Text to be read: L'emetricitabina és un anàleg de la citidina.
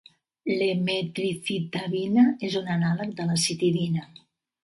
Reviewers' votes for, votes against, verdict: 0, 2, rejected